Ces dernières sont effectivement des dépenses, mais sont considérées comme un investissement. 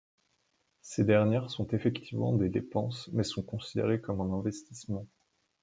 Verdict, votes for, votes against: accepted, 2, 0